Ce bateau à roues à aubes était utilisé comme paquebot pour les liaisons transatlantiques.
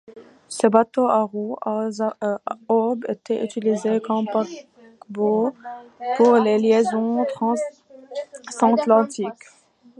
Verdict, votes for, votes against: rejected, 0, 3